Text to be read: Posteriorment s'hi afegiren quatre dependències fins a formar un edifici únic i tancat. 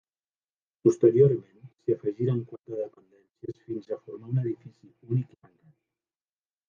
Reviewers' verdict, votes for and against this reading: rejected, 1, 2